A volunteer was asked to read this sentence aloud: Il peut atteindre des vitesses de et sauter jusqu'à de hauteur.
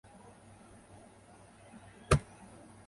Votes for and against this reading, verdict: 0, 2, rejected